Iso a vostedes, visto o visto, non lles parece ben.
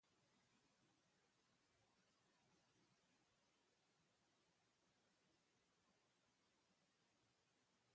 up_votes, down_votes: 0, 2